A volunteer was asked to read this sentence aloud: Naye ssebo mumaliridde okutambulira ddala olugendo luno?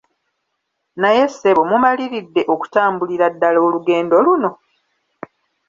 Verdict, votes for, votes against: accepted, 2, 1